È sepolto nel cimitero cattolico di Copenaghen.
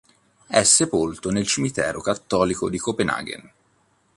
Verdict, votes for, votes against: accepted, 3, 0